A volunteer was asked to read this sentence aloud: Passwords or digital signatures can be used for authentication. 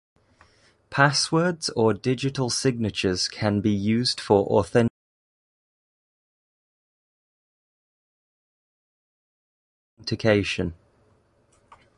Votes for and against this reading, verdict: 1, 2, rejected